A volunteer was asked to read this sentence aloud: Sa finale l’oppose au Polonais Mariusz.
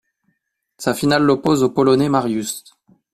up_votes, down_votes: 2, 0